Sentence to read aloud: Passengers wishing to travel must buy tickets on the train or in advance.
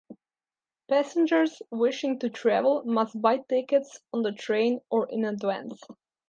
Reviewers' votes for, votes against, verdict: 2, 0, accepted